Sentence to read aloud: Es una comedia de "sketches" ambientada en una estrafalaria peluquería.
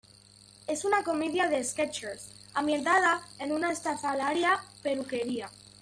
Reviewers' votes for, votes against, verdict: 2, 1, accepted